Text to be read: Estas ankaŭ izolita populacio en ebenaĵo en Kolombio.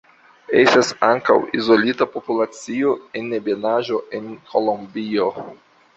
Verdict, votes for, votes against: accepted, 2, 0